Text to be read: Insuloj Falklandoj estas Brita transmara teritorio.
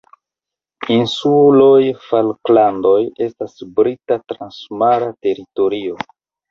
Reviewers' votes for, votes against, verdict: 1, 2, rejected